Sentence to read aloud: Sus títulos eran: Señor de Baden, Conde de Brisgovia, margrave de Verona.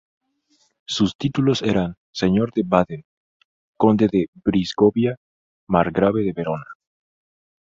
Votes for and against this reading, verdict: 2, 0, accepted